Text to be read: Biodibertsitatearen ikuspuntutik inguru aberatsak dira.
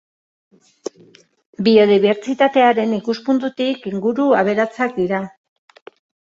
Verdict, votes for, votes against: accepted, 3, 0